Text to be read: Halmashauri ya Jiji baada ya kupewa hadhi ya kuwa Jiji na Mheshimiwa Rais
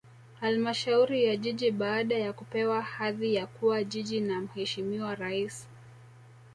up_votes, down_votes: 2, 0